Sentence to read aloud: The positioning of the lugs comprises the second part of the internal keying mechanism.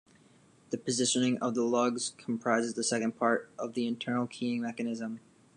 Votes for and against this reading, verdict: 2, 0, accepted